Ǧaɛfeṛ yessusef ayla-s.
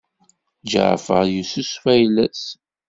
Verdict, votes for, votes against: accepted, 2, 0